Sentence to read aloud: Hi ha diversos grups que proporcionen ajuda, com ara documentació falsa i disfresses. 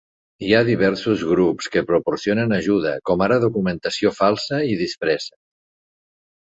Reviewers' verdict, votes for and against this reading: accepted, 2, 0